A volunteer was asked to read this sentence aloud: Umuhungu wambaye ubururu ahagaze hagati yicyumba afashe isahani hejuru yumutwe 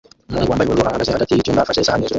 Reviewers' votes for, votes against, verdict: 0, 2, rejected